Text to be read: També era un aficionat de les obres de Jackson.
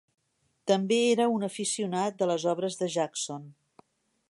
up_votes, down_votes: 3, 0